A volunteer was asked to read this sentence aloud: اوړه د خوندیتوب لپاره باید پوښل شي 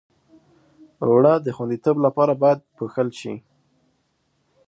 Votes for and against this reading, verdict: 2, 0, accepted